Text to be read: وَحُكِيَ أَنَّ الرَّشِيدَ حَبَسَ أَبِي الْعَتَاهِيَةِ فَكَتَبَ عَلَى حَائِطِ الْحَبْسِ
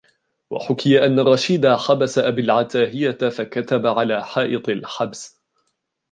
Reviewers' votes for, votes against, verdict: 0, 2, rejected